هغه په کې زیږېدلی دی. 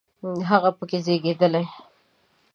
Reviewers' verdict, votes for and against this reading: rejected, 1, 2